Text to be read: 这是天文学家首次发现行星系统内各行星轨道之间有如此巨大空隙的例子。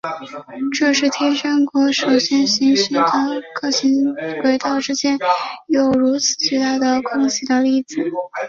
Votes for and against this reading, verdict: 0, 2, rejected